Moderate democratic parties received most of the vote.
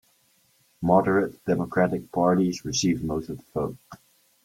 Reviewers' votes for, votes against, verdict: 2, 0, accepted